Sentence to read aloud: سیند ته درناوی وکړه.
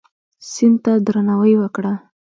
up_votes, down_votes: 2, 0